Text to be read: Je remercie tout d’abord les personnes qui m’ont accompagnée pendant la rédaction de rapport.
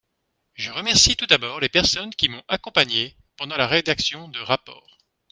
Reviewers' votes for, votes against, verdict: 2, 0, accepted